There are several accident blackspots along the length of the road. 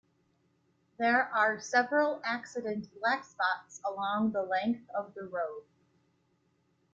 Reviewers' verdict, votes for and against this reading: accepted, 2, 0